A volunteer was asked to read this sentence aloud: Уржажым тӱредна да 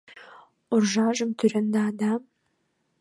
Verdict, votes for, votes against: accepted, 2, 1